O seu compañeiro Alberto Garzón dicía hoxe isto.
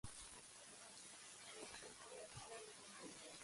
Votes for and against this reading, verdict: 0, 2, rejected